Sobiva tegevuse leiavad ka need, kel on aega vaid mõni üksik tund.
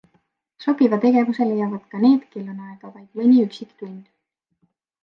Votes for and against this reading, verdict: 3, 0, accepted